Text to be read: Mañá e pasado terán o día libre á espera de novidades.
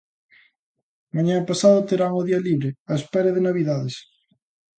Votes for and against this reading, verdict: 2, 1, accepted